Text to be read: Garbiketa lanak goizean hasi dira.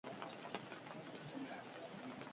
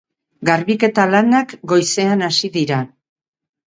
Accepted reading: second